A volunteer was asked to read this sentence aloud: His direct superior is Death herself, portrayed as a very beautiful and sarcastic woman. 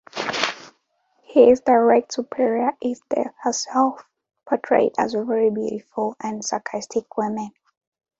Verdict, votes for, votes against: rejected, 1, 2